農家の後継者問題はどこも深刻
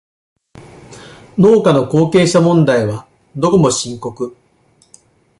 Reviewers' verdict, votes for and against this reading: accepted, 2, 0